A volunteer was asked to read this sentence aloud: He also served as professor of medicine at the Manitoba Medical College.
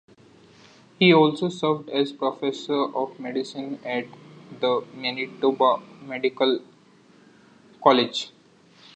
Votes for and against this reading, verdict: 2, 0, accepted